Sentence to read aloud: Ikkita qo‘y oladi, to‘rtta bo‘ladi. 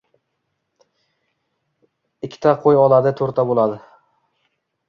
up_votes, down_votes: 2, 1